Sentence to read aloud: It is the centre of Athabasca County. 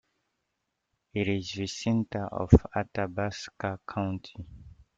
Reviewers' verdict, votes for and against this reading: accepted, 2, 1